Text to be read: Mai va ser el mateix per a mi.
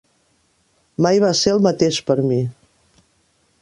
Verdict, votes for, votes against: rejected, 0, 2